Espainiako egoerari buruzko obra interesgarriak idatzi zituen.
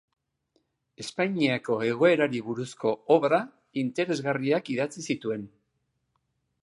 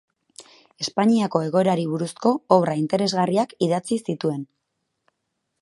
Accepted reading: first